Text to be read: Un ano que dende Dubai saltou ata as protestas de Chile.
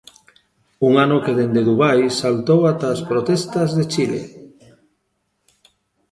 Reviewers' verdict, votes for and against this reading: accepted, 2, 0